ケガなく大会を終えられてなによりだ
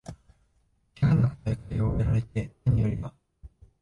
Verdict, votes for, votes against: rejected, 0, 2